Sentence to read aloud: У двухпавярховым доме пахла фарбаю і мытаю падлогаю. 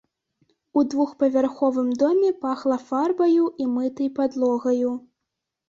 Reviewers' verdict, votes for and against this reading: rejected, 0, 2